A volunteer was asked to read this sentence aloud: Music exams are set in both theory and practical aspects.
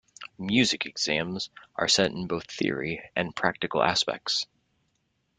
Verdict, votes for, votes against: accepted, 2, 0